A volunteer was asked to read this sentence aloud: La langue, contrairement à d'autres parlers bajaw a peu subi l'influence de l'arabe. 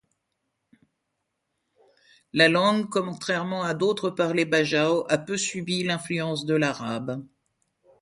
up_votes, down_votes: 0, 2